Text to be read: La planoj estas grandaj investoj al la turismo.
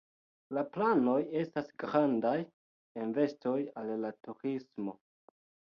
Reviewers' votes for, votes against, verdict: 0, 2, rejected